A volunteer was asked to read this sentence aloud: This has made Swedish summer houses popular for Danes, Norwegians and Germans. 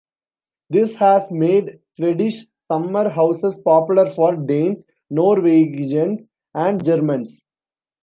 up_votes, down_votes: 0, 2